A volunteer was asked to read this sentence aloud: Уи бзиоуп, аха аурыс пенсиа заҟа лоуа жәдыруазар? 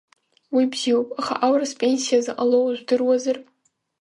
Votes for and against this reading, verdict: 2, 0, accepted